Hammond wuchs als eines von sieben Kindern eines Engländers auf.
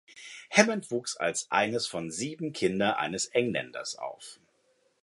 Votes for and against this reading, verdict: 0, 2, rejected